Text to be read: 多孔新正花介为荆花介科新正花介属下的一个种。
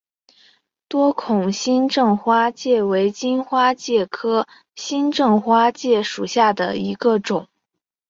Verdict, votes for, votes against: accepted, 3, 0